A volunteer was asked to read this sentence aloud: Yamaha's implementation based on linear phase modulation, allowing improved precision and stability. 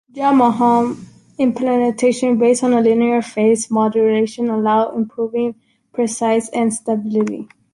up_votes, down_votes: 1, 2